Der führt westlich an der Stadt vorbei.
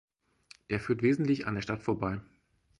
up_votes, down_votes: 2, 4